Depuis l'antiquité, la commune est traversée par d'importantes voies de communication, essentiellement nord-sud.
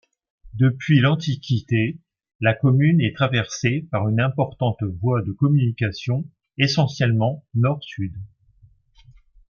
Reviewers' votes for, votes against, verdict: 1, 2, rejected